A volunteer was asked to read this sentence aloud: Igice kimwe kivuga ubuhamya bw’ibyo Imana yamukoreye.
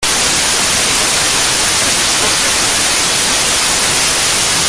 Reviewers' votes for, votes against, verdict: 0, 2, rejected